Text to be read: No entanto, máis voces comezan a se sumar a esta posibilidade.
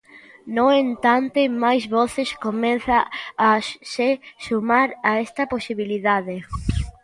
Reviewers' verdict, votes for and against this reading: rejected, 1, 2